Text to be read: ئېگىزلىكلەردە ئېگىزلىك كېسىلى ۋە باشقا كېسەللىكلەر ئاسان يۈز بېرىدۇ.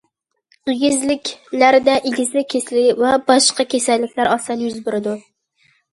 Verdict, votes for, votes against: accepted, 2, 0